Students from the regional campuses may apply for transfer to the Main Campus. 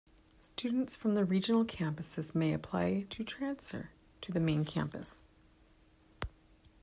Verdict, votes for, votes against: rejected, 1, 2